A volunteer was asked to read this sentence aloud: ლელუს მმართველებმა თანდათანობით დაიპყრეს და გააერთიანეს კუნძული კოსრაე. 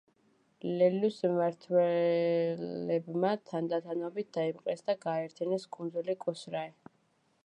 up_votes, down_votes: 0, 2